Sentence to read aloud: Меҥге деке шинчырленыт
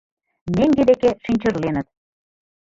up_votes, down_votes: 1, 3